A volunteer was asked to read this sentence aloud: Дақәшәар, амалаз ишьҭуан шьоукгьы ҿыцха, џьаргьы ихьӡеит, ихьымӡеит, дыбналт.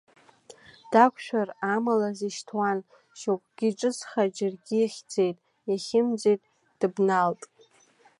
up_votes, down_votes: 0, 2